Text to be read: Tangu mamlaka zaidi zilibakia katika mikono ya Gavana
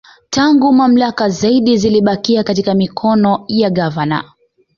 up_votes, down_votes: 2, 1